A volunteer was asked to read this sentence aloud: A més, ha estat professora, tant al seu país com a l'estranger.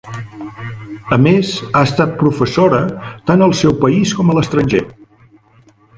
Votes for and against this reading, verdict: 2, 1, accepted